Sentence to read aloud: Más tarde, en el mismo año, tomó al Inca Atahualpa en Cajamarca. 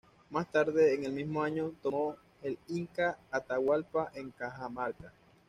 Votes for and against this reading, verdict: 1, 2, rejected